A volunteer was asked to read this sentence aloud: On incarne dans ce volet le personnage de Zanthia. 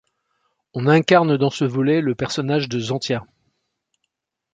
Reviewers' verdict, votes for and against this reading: accepted, 2, 0